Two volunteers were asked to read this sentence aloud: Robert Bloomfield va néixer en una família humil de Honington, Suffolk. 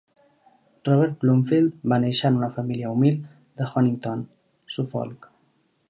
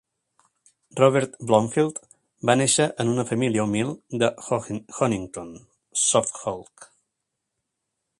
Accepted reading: first